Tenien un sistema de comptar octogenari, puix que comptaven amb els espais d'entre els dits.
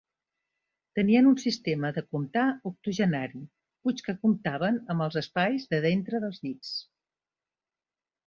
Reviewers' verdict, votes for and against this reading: rejected, 0, 2